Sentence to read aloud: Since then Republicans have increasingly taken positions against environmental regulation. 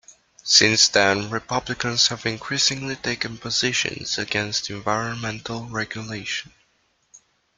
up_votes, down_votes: 2, 0